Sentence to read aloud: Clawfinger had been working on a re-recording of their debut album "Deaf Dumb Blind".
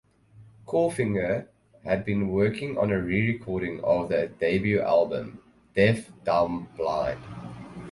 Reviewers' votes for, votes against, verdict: 2, 0, accepted